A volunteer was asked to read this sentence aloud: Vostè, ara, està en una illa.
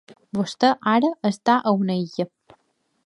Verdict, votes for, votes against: rejected, 0, 2